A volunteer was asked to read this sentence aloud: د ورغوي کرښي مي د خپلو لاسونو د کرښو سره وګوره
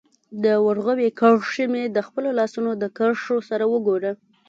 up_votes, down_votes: 0, 2